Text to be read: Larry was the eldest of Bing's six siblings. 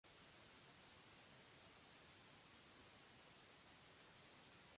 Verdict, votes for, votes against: rejected, 0, 2